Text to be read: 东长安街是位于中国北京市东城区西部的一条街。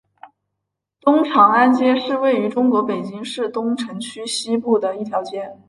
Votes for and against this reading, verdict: 2, 0, accepted